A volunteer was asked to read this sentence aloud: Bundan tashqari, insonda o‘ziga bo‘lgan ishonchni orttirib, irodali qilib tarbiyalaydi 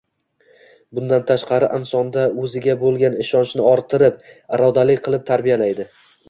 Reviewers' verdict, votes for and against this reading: accepted, 2, 0